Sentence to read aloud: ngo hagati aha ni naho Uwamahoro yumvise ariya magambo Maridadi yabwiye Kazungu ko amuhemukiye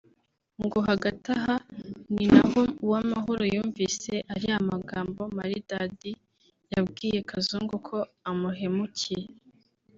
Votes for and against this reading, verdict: 2, 1, accepted